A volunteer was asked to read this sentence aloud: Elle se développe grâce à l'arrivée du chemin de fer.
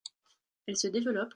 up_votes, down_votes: 0, 2